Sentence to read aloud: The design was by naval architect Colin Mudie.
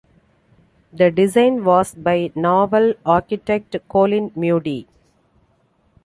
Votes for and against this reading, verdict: 0, 2, rejected